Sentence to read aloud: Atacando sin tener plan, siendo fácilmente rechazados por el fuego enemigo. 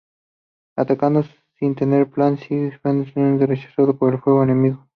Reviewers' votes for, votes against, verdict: 0, 2, rejected